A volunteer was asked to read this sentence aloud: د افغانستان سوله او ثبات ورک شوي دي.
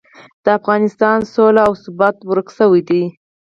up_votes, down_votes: 2, 4